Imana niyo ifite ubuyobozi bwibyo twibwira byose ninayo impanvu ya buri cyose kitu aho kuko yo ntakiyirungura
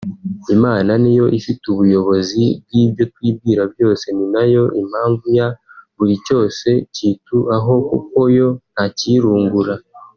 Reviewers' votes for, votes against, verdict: 1, 2, rejected